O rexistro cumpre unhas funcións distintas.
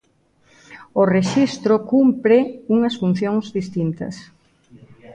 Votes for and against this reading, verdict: 2, 0, accepted